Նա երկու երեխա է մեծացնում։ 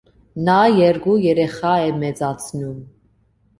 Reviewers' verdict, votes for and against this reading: accepted, 2, 1